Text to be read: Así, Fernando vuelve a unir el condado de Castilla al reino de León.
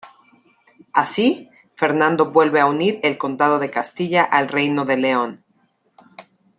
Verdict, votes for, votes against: accepted, 2, 0